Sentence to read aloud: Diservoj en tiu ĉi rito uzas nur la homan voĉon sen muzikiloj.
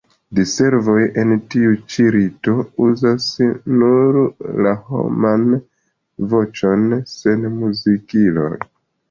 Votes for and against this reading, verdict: 2, 0, accepted